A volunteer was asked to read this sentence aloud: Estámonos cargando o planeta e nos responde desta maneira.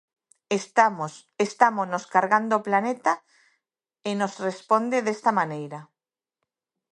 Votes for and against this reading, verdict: 2, 1, accepted